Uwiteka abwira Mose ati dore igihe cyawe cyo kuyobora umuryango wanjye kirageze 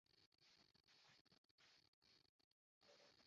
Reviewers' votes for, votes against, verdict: 0, 2, rejected